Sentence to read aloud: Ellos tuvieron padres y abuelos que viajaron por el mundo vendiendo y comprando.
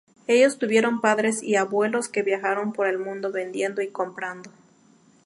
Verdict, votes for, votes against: accepted, 2, 0